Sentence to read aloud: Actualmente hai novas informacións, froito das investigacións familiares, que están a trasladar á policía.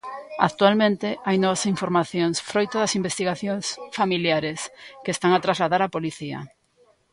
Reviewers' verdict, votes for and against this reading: accepted, 2, 1